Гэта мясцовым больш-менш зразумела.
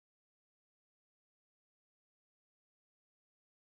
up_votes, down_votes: 0, 2